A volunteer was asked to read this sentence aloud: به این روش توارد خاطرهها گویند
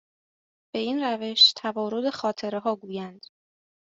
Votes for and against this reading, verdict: 2, 0, accepted